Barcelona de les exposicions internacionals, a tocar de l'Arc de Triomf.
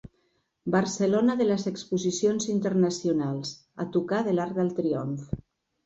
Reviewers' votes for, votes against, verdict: 1, 2, rejected